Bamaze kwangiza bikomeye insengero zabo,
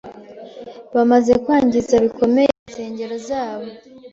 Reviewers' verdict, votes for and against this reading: accepted, 2, 0